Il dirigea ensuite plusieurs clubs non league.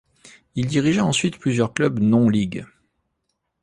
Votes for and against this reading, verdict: 2, 0, accepted